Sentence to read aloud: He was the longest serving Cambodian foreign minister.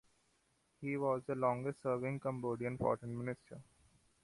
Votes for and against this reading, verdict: 2, 0, accepted